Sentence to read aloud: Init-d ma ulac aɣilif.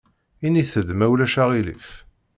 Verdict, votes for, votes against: accepted, 2, 0